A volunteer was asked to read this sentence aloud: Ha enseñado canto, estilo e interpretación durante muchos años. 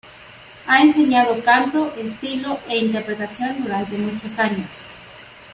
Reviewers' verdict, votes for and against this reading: accepted, 2, 1